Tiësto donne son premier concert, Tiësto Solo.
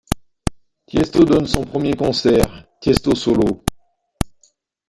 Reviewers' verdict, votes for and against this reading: accepted, 2, 0